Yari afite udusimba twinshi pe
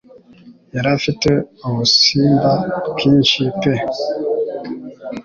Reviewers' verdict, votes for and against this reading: rejected, 0, 2